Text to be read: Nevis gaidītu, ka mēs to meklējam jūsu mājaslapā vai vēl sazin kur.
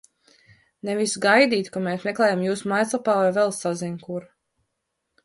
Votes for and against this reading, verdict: 0, 2, rejected